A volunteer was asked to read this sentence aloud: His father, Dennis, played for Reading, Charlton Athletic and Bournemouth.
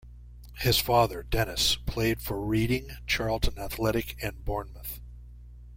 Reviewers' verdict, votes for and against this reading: rejected, 1, 2